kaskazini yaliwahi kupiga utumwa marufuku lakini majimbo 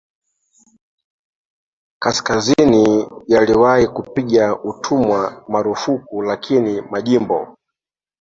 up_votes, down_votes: 2, 0